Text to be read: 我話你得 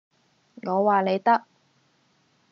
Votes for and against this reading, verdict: 2, 0, accepted